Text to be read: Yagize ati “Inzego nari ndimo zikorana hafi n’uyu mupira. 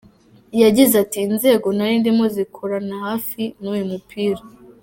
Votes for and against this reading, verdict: 2, 0, accepted